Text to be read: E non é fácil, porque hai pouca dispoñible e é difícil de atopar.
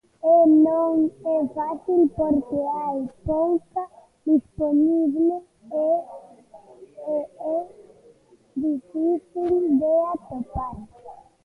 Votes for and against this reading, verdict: 0, 2, rejected